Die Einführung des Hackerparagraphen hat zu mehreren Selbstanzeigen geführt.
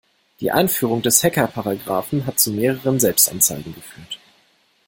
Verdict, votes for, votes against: accepted, 2, 0